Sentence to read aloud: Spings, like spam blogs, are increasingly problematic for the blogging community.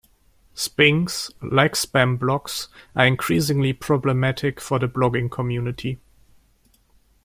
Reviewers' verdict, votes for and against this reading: accepted, 2, 0